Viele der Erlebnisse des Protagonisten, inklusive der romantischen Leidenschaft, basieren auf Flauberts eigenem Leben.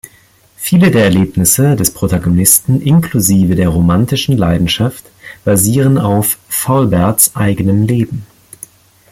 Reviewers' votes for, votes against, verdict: 1, 2, rejected